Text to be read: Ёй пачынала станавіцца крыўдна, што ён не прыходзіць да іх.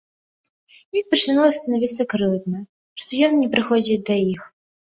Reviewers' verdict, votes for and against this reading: rejected, 1, 2